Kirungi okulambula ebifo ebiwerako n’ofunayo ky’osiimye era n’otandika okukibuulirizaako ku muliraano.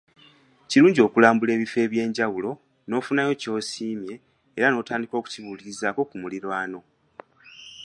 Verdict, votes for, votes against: accepted, 2, 1